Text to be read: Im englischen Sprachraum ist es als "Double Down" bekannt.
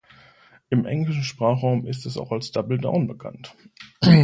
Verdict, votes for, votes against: rejected, 0, 2